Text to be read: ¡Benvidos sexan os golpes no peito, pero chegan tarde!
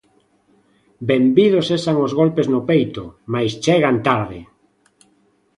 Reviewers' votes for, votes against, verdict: 0, 2, rejected